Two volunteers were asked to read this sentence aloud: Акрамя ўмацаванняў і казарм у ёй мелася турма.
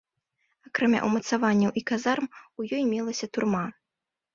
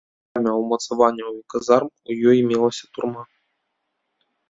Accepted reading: first